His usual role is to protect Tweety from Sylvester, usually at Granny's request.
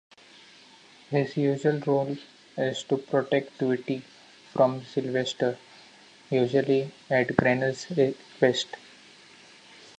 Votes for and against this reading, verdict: 1, 2, rejected